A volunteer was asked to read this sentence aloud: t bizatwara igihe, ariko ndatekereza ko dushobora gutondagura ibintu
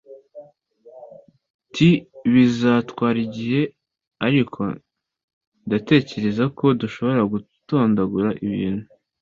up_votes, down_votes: 2, 0